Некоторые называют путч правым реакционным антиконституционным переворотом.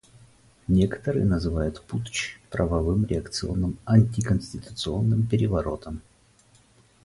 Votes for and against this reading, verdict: 2, 4, rejected